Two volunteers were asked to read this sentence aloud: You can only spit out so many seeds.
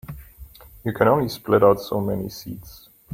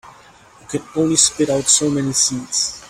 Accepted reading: second